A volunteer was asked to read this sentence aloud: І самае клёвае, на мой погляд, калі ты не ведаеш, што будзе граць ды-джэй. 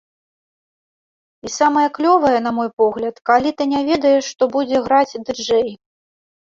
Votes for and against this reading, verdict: 3, 0, accepted